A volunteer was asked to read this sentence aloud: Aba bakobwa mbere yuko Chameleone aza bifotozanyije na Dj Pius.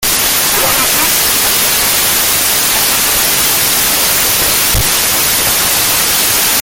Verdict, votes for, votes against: rejected, 0, 2